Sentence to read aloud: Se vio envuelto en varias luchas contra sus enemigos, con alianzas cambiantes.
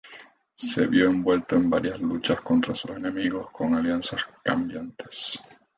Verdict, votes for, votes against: accepted, 4, 0